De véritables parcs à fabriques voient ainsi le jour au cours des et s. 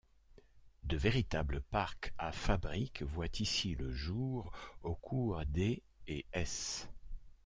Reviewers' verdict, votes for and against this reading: rejected, 1, 2